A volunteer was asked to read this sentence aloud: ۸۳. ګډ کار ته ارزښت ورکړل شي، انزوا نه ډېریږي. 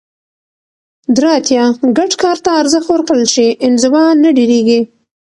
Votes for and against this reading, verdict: 0, 2, rejected